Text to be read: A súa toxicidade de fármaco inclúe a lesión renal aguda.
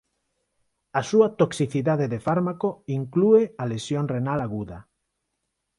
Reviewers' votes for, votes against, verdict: 4, 0, accepted